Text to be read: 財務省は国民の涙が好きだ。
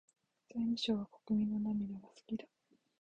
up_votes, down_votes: 2, 1